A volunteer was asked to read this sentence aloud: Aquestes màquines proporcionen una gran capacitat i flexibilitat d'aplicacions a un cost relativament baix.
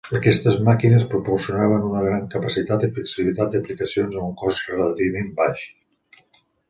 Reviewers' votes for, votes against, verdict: 1, 2, rejected